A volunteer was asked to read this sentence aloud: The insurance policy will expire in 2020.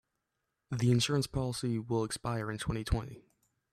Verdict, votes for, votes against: rejected, 0, 2